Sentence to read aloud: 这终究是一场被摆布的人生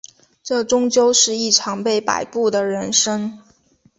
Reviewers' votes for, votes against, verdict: 2, 0, accepted